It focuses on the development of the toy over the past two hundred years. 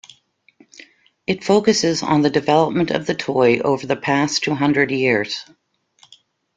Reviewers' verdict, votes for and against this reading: accepted, 2, 0